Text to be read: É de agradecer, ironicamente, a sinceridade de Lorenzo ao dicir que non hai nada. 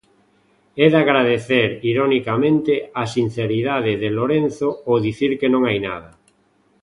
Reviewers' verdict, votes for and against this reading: accepted, 2, 0